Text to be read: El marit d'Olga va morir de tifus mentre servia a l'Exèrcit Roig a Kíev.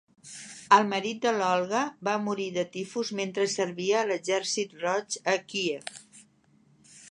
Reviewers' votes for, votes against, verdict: 1, 2, rejected